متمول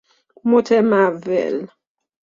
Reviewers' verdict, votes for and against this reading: accepted, 2, 0